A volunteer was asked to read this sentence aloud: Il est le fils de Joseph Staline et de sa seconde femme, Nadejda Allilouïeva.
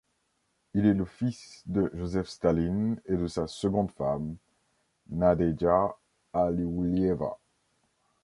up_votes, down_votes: 0, 2